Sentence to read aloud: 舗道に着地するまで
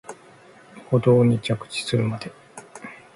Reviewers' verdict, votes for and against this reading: accepted, 2, 0